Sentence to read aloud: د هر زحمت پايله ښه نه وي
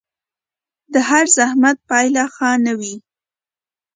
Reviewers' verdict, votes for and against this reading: accepted, 2, 0